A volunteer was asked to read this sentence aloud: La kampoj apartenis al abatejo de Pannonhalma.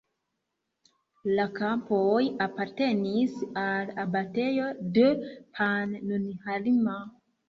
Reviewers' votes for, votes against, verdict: 0, 2, rejected